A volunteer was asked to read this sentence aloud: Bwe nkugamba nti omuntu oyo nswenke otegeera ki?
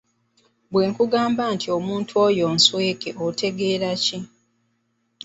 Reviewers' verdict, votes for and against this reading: accepted, 2, 0